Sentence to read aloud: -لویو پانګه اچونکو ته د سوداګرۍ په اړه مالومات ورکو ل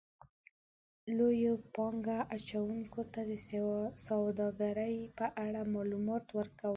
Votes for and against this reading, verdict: 1, 2, rejected